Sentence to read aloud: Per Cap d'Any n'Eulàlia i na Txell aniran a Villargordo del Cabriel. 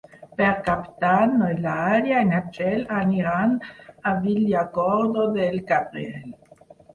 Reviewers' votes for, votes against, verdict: 2, 4, rejected